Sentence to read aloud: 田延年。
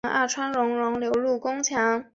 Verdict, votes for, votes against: rejected, 0, 5